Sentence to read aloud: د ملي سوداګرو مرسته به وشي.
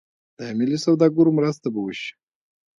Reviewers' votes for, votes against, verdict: 2, 0, accepted